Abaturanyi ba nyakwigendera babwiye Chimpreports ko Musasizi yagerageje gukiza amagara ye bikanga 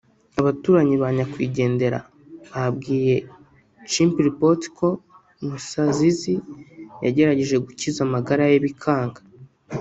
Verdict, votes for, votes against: rejected, 1, 2